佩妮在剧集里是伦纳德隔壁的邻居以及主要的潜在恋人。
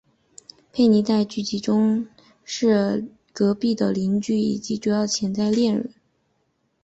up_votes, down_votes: 4, 2